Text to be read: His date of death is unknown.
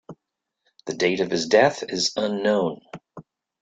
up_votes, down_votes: 0, 3